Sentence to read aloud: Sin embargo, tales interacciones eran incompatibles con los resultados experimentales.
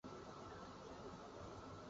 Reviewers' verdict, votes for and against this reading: rejected, 0, 2